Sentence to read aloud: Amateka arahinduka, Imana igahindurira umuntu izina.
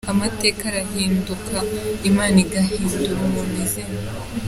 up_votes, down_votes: 2, 0